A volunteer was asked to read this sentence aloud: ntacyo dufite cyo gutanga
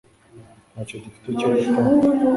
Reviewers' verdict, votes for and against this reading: rejected, 0, 2